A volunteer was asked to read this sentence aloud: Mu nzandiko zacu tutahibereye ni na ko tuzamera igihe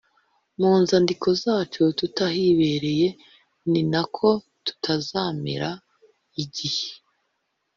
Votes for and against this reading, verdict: 2, 1, accepted